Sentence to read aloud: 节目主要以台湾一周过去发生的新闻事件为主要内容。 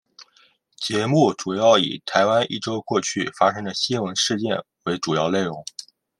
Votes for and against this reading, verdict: 2, 0, accepted